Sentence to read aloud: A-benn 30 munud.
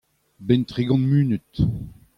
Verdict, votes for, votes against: rejected, 0, 2